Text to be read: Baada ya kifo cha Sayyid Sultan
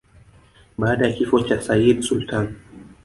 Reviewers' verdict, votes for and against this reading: rejected, 1, 2